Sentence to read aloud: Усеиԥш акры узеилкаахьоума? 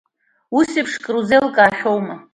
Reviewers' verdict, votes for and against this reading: accepted, 2, 0